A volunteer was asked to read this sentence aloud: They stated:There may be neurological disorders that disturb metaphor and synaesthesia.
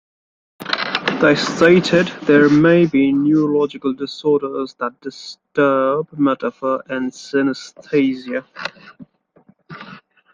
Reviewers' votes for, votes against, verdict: 2, 1, accepted